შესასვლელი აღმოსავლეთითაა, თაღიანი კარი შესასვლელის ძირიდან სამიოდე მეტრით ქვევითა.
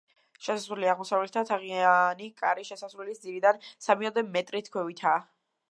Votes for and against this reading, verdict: 0, 2, rejected